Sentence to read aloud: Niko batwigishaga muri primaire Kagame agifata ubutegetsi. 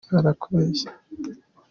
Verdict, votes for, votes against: rejected, 0, 3